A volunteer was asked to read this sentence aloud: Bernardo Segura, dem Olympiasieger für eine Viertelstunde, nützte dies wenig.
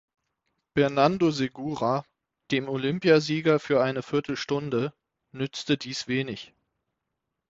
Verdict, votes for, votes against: rejected, 0, 6